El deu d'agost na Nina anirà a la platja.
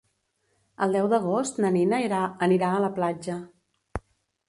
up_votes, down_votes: 1, 2